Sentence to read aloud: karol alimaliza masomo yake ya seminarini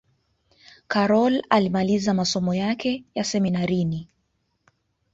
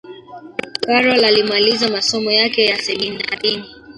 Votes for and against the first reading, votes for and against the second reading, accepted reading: 2, 0, 0, 2, first